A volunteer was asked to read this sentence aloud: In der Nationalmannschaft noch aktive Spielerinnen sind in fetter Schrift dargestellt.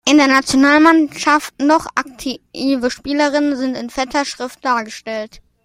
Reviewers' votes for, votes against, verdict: 2, 0, accepted